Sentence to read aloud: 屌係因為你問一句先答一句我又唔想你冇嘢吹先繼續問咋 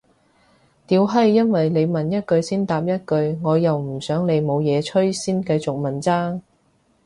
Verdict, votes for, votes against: accepted, 2, 0